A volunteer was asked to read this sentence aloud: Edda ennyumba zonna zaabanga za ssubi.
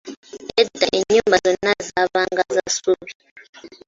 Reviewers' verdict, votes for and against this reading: rejected, 1, 2